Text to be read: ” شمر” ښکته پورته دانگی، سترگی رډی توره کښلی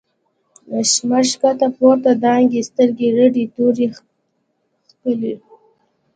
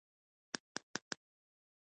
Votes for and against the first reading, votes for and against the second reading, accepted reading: 2, 0, 1, 2, first